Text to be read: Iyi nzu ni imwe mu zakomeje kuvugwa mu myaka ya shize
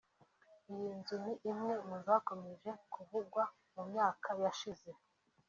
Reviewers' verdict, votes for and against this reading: accepted, 3, 1